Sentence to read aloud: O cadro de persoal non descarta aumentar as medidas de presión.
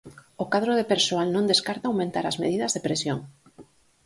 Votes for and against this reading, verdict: 4, 0, accepted